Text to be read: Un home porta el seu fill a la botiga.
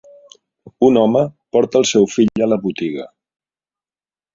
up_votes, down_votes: 4, 1